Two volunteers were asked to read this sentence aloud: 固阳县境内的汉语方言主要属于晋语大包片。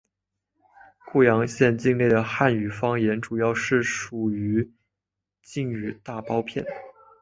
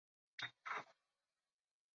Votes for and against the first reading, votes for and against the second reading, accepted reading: 2, 0, 0, 2, first